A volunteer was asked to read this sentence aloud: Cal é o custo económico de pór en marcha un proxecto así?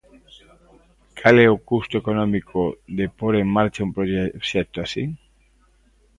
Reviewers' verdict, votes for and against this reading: rejected, 0, 2